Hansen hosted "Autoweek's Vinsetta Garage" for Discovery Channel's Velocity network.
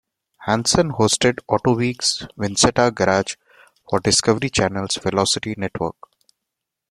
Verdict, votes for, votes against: accepted, 2, 0